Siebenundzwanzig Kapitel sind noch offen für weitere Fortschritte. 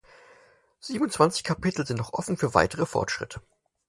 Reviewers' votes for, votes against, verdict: 4, 0, accepted